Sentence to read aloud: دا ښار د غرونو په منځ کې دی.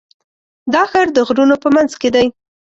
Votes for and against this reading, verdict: 2, 0, accepted